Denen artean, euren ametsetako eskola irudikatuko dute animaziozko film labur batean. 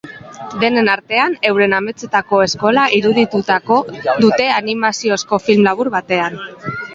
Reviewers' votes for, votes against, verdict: 0, 3, rejected